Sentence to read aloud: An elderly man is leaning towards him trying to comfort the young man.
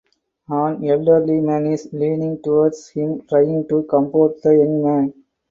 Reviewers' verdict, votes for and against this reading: accepted, 4, 0